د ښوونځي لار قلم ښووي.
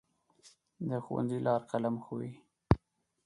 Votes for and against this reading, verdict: 4, 0, accepted